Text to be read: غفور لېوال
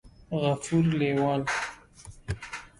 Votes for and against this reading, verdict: 2, 0, accepted